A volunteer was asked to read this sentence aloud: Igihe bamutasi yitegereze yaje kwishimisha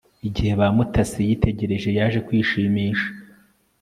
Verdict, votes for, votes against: rejected, 1, 2